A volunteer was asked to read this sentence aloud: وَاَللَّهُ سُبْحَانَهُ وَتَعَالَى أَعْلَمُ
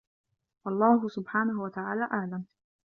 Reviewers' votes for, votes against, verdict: 1, 2, rejected